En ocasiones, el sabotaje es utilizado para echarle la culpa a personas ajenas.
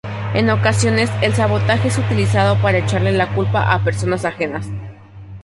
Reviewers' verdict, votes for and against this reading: accepted, 2, 0